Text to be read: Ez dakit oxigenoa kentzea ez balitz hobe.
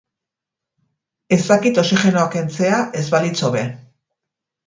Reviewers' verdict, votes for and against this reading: accepted, 6, 0